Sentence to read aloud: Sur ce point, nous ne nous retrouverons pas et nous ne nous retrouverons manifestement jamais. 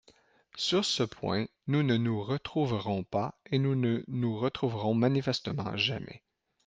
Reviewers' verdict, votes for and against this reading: accepted, 2, 0